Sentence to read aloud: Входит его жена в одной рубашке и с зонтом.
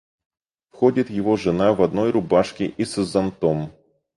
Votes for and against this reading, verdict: 4, 0, accepted